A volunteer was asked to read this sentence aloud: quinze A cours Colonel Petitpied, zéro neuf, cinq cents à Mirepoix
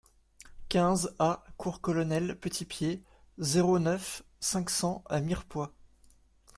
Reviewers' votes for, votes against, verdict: 2, 0, accepted